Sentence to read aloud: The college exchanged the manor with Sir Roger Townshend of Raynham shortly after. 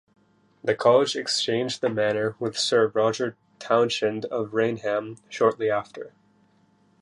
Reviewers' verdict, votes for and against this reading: rejected, 1, 2